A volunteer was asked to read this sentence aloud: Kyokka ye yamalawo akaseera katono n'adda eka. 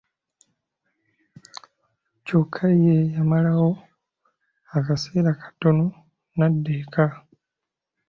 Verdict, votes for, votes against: accepted, 2, 0